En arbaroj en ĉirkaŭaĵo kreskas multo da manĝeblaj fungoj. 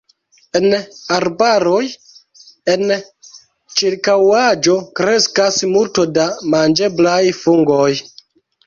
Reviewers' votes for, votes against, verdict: 1, 3, rejected